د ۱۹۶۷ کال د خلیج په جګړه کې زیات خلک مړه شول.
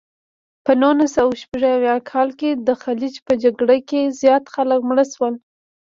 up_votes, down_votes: 0, 2